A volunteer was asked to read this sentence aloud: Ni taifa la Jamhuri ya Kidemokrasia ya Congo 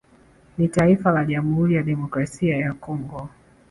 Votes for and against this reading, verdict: 2, 0, accepted